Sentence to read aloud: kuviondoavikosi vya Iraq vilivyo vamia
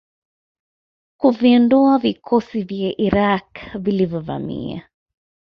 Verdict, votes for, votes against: accepted, 2, 1